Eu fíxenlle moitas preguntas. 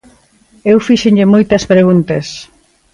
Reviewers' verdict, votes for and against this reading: accepted, 2, 0